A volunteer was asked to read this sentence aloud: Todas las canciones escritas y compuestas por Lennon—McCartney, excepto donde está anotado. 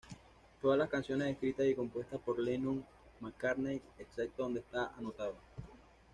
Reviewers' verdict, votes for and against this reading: accepted, 2, 0